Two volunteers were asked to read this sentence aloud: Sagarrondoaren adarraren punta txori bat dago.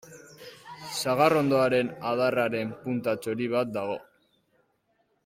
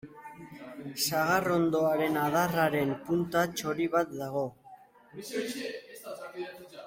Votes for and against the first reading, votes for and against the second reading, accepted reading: 2, 1, 1, 2, first